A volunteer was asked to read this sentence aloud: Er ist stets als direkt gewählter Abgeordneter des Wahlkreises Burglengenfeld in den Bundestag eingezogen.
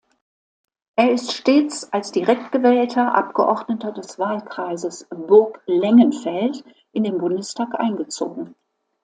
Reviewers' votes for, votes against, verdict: 2, 0, accepted